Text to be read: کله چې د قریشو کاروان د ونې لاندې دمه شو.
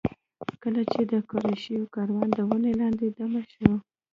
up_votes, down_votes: 1, 2